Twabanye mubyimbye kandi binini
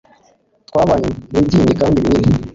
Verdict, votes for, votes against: rejected, 1, 2